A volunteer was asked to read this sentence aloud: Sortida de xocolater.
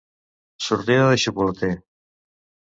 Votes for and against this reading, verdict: 2, 0, accepted